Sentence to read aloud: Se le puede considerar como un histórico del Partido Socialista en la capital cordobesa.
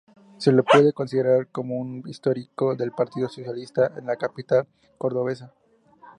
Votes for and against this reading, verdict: 2, 0, accepted